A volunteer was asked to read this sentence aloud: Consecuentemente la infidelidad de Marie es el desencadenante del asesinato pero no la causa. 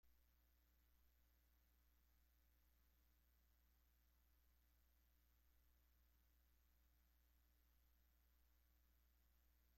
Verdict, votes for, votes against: rejected, 0, 2